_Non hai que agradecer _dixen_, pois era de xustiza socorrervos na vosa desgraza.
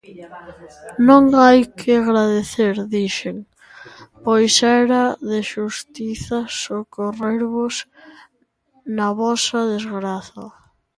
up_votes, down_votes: 1, 2